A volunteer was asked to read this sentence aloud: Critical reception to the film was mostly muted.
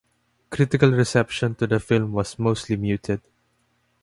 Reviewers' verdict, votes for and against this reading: accepted, 2, 0